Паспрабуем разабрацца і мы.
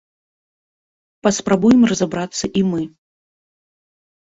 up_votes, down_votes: 2, 0